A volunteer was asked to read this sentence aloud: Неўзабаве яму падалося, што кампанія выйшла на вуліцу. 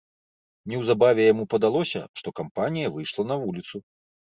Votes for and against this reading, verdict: 2, 0, accepted